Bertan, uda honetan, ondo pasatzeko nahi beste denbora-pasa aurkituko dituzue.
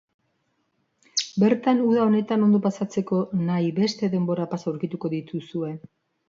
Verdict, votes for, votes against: accepted, 2, 1